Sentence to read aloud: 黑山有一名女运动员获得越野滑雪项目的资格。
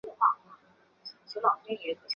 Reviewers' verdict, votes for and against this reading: rejected, 0, 3